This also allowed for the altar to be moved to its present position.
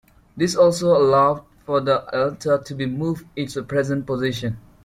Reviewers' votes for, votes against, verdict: 2, 0, accepted